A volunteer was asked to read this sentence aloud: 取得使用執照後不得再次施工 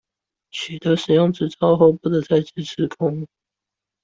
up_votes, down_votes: 1, 2